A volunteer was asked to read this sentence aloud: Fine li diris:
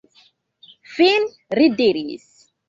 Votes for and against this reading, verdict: 1, 2, rejected